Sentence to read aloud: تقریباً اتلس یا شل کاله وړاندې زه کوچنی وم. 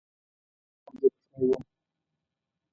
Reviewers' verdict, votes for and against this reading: rejected, 0, 2